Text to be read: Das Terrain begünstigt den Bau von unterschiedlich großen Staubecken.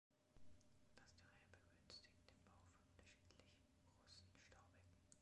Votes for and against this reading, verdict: 1, 2, rejected